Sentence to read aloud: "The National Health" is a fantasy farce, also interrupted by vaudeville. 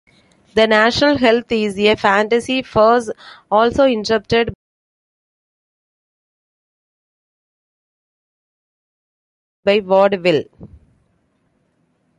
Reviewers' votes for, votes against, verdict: 0, 2, rejected